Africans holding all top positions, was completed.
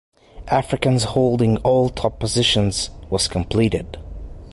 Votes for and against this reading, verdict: 2, 0, accepted